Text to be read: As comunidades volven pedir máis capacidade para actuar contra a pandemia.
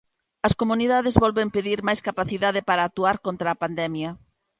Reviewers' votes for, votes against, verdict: 2, 0, accepted